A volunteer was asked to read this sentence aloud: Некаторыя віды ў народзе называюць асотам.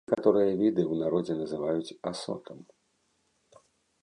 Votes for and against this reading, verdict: 1, 2, rejected